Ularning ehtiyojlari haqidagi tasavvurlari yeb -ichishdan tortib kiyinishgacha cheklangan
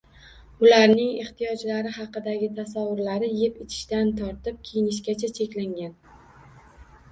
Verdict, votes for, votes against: rejected, 1, 2